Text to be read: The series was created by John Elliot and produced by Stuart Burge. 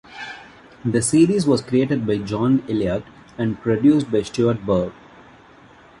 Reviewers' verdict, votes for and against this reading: rejected, 0, 2